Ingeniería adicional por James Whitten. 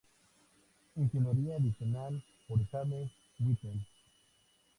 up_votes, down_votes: 0, 2